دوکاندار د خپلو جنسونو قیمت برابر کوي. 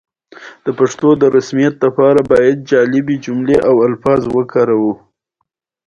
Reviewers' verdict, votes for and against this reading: accepted, 2, 1